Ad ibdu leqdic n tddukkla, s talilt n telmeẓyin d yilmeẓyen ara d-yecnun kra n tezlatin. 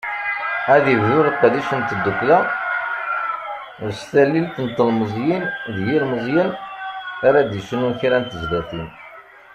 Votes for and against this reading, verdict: 0, 2, rejected